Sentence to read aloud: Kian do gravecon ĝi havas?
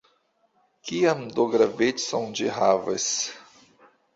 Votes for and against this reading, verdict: 2, 0, accepted